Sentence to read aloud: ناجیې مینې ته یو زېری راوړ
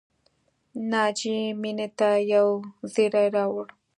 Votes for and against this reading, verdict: 2, 0, accepted